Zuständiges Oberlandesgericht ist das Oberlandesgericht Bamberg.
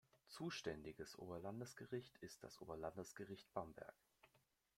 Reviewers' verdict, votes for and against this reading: accepted, 2, 0